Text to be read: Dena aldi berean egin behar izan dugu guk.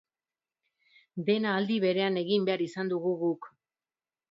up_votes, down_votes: 2, 0